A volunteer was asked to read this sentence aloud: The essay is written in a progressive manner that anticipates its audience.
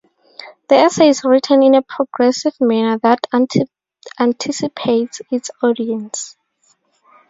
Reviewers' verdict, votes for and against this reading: rejected, 0, 2